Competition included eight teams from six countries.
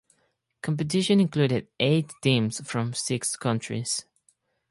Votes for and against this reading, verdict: 4, 0, accepted